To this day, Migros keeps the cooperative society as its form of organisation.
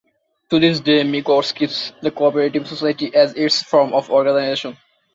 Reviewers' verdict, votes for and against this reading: accepted, 2, 1